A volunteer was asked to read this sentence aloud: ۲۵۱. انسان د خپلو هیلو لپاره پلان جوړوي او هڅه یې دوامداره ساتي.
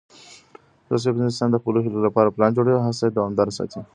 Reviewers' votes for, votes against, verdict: 0, 2, rejected